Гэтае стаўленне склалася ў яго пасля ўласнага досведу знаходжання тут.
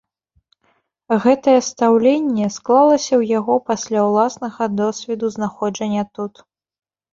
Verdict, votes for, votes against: rejected, 1, 2